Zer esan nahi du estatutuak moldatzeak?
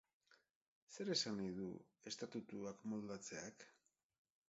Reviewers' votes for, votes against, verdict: 2, 4, rejected